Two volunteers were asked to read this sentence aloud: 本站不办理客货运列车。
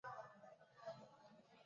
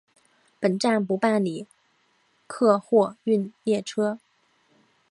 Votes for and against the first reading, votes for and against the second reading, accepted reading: 1, 3, 2, 0, second